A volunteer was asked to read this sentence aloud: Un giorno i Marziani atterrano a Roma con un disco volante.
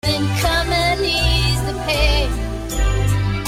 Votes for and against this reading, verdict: 0, 2, rejected